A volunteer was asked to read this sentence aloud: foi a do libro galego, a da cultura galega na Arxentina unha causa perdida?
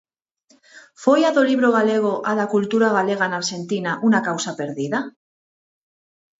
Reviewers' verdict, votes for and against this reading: rejected, 2, 4